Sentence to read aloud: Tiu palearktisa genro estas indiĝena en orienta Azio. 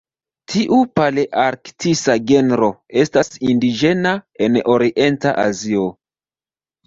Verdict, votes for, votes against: rejected, 1, 2